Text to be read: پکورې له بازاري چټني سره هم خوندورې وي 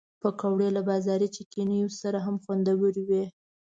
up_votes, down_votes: 3, 0